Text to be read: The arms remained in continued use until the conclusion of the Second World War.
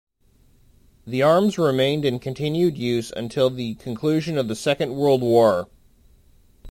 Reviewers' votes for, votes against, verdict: 1, 2, rejected